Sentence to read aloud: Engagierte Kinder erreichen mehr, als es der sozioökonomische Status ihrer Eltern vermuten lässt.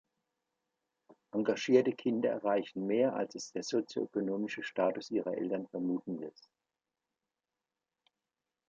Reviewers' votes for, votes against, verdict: 2, 0, accepted